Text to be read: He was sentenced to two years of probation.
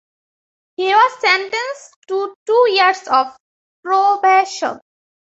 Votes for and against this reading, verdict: 2, 0, accepted